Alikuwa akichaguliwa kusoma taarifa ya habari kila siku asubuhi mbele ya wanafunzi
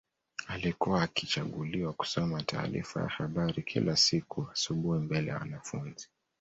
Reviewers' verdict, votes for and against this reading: rejected, 0, 2